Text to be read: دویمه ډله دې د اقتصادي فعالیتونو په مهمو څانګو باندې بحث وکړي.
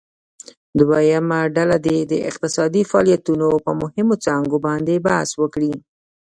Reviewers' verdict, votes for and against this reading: rejected, 1, 2